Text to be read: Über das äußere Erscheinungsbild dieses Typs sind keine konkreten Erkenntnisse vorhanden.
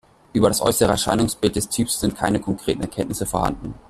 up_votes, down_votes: 0, 2